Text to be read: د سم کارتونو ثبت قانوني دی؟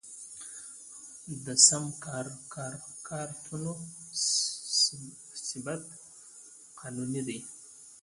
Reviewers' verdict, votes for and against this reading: rejected, 0, 2